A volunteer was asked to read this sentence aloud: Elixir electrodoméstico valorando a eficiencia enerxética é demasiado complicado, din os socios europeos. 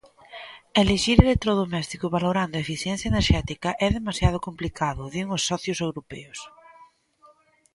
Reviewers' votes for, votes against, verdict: 1, 2, rejected